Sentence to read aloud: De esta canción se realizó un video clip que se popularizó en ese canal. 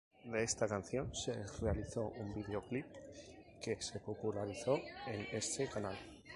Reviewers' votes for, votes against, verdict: 2, 2, rejected